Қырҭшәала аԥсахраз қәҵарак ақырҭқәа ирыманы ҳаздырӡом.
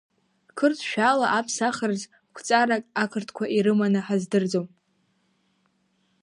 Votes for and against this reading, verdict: 2, 1, accepted